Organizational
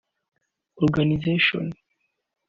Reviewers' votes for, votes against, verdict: 2, 0, accepted